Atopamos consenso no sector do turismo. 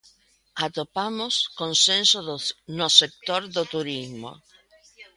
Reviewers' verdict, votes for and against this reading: rejected, 0, 2